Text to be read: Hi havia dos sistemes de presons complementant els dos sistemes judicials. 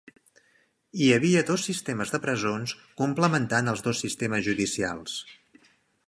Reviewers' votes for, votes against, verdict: 5, 0, accepted